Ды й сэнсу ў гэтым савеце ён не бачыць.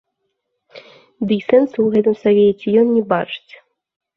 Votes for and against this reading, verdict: 2, 0, accepted